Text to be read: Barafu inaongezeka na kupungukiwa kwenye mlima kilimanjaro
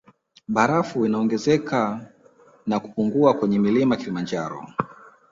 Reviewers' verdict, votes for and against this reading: rejected, 1, 2